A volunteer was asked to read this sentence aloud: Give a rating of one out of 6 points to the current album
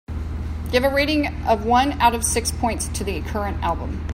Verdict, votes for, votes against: rejected, 0, 2